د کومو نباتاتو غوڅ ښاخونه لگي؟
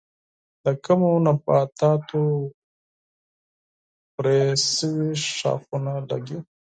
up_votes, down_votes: 2, 4